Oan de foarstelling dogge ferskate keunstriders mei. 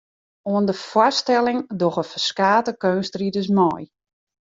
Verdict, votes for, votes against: accepted, 2, 0